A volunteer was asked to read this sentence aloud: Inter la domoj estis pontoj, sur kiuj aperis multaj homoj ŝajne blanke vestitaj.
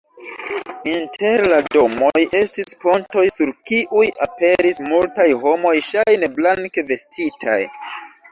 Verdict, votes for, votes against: rejected, 0, 2